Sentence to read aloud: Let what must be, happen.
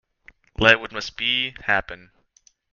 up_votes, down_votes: 2, 0